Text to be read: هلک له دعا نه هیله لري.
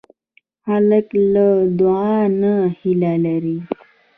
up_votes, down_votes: 2, 0